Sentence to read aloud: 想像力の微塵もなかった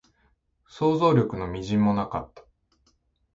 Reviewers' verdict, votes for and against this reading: accepted, 2, 0